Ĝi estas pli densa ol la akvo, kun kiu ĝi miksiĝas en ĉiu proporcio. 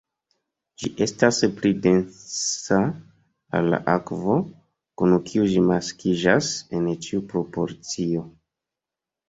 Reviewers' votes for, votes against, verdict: 0, 3, rejected